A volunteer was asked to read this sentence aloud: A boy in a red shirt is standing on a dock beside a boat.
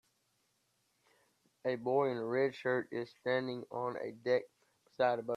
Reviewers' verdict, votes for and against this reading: rejected, 0, 2